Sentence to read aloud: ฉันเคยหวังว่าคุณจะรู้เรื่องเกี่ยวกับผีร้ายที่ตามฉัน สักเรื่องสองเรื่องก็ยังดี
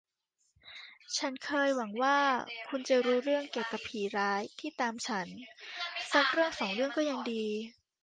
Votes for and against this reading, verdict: 1, 2, rejected